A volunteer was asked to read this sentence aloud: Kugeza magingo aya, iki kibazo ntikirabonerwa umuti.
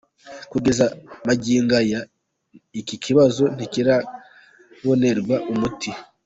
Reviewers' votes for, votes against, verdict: 2, 1, accepted